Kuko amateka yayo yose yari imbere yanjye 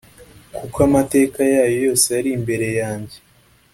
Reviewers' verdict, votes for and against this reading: accepted, 2, 0